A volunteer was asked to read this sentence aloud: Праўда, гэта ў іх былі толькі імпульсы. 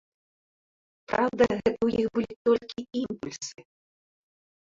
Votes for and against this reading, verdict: 2, 1, accepted